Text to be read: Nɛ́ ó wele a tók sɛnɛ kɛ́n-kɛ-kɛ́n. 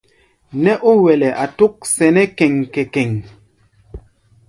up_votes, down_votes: 2, 0